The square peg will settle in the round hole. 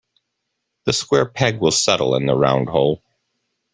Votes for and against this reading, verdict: 2, 0, accepted